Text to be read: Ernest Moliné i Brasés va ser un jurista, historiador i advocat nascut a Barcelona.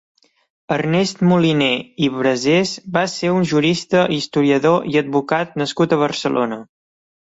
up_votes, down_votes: 2, 0